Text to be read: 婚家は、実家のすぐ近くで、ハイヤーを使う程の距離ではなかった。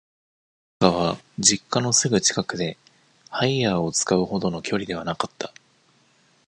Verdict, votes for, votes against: rejected, 0, 2